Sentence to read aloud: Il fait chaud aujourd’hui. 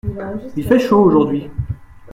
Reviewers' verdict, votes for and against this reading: accepted, 2, 0